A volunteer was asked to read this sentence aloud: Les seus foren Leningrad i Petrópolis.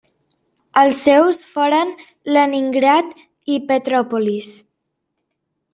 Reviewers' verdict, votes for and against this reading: rejected, 0, 2